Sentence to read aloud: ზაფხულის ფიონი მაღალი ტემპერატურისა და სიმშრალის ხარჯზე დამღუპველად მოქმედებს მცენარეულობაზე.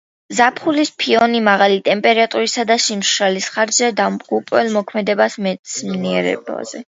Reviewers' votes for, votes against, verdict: 0, 2, rejected